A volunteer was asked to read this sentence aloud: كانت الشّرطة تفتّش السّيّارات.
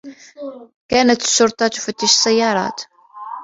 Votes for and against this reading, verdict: 2, 0, accepted